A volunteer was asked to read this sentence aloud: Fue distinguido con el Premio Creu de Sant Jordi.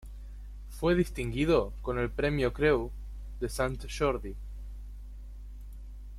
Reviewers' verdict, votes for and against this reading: rejected, 1, 2